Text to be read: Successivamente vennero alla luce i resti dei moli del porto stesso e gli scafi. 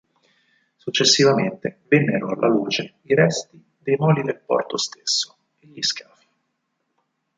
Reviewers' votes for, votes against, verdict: 0, 6, rejected